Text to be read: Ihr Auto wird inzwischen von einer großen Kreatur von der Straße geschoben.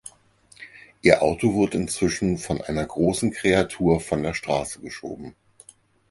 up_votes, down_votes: 0, 4